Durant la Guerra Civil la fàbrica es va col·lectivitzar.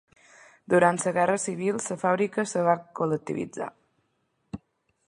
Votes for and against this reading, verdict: 0, 2, rejected